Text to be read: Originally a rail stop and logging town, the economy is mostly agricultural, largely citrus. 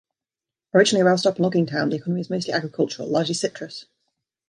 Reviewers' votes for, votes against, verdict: 0, 2, rejected